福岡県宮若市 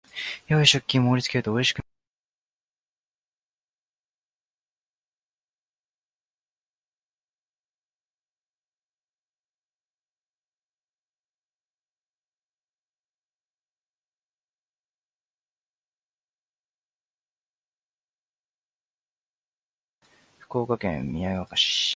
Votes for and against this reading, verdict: 0, 2, rejected